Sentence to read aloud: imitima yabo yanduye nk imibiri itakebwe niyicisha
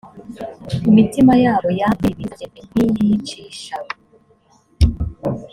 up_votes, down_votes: 2, 3